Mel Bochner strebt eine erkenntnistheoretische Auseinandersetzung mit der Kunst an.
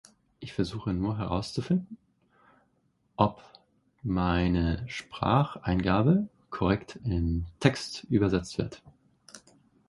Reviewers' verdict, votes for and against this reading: rejected, 0, 2